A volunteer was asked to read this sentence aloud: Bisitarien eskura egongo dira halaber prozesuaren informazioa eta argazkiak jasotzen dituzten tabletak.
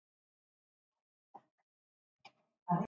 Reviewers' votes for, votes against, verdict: 0, 2, rejected